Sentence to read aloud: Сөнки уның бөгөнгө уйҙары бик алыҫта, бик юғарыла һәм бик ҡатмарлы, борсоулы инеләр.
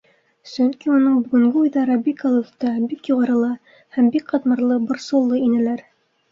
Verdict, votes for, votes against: rejected, 1, 2